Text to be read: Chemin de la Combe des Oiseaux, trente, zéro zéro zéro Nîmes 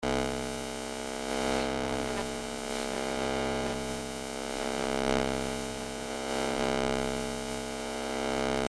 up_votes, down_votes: 0, 2